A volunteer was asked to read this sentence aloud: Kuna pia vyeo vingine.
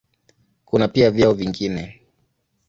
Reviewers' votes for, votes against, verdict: 2, 0, accepted